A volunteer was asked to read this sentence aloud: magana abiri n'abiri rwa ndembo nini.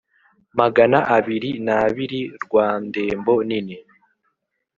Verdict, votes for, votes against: accepted, 3, 0